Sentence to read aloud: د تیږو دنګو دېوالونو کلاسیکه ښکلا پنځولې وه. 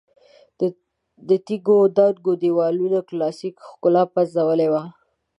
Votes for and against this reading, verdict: 1, 2, rejected